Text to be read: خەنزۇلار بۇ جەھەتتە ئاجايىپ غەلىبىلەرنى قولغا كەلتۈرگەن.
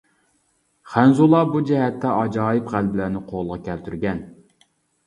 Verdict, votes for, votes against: accepted, 2, 0